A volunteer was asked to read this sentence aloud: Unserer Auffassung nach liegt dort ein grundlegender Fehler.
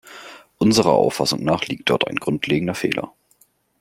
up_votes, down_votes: 2, 0